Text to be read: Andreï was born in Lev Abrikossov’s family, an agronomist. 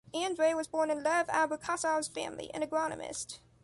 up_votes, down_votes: 2, 0